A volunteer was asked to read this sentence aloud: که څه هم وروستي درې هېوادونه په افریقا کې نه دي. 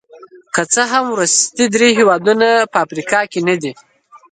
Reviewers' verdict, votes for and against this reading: rejected, 1, 2